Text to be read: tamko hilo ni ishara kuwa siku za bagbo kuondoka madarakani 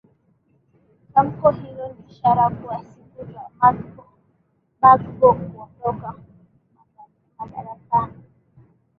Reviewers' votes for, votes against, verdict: 4, 3, accepted